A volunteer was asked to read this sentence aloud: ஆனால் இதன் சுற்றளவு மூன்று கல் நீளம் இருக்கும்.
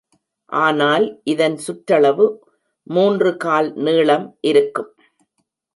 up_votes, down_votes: 0, 2